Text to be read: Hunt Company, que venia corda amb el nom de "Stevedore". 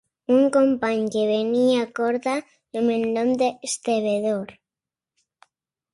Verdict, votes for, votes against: rejected, 1, 2